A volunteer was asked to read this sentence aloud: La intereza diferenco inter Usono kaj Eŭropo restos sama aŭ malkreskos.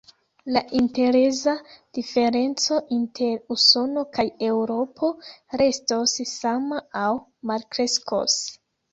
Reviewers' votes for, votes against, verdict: 1, 2, rejected